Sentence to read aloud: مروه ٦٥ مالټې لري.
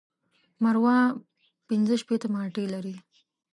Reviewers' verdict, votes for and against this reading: rejected, 0, 2